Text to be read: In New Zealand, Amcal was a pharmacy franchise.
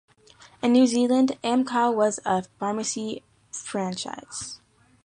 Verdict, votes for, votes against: accepted, 2, 0